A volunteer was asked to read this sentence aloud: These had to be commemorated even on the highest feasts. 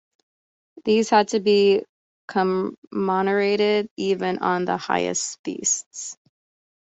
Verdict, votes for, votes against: rejected, 0, 2